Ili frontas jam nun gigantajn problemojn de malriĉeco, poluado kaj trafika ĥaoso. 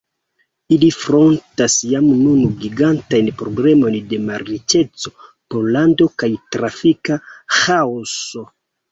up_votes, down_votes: 0, 2